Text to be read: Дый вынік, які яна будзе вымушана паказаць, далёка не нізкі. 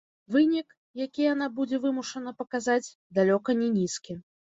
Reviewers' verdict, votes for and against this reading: rejected, 0, 2